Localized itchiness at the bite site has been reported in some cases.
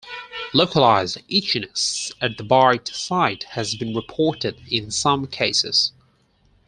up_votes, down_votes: 4, 2